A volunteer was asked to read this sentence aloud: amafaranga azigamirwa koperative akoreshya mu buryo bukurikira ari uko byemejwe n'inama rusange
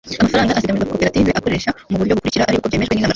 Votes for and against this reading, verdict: 0, 2, rejected